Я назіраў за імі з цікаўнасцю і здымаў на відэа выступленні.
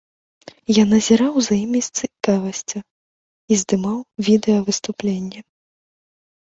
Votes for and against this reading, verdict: 0, 2, rejected